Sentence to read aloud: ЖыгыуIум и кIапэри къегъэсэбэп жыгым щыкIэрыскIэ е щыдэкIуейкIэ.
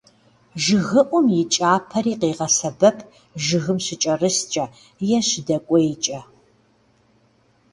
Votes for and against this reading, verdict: 1, 2, rejected